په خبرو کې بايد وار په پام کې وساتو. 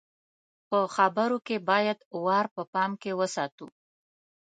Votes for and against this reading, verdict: 2, 0, accepted